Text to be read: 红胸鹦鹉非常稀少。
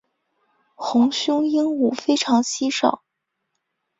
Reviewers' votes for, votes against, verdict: 2, 0, accepted